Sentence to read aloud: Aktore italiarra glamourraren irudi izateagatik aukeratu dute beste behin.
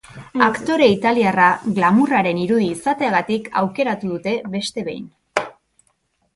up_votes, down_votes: 3, 0